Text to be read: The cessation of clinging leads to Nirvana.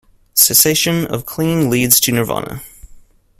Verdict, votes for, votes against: accepted, 2, 0